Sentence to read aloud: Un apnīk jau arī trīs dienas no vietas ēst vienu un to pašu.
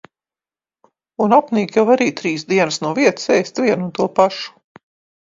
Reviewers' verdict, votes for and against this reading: accepted, 2, 0